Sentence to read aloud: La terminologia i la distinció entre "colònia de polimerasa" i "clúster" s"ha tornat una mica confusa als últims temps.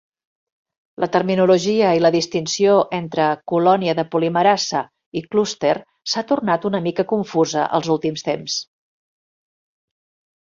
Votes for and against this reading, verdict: 2, 0, accepted